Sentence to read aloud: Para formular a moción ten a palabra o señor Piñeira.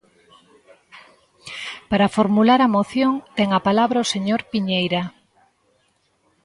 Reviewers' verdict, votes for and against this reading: accepted, 2, 0